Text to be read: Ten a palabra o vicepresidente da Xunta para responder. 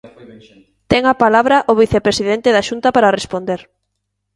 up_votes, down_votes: 1, 2